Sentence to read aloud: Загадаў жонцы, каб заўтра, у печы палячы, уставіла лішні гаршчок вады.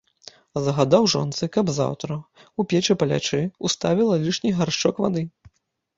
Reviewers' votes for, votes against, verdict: 1, 3, rejected